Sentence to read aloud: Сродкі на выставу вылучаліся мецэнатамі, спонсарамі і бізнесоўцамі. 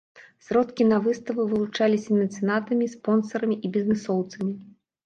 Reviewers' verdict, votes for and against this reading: rejected, 0, 2